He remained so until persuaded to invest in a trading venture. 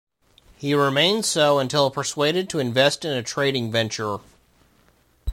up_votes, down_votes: 2, 0